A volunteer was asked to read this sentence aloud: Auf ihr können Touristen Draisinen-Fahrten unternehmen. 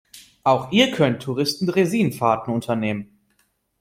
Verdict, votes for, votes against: accepted, 2, 0